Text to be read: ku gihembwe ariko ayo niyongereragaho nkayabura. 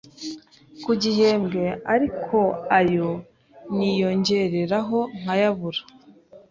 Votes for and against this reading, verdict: 0, 2, rejected